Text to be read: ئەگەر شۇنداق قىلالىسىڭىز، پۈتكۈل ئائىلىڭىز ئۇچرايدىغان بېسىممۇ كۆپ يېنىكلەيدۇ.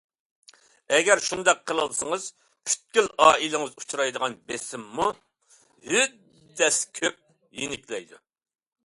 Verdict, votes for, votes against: rejected, 0, 2